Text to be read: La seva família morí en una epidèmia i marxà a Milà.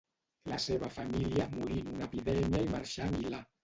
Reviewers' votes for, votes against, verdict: 0, 2, rejected